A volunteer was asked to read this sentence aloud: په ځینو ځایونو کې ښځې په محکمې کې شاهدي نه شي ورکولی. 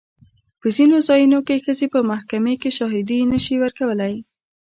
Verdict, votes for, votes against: rejected, 1, 2